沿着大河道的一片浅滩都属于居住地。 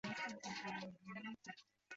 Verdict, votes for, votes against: rejected, 0, 2